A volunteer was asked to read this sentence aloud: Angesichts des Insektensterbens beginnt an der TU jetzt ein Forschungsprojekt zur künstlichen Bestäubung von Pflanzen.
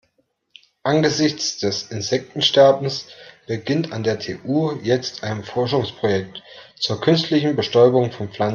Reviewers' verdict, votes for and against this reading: rejected, 0, 2